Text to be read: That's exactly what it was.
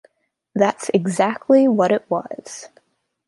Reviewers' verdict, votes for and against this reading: accepted, 3, 0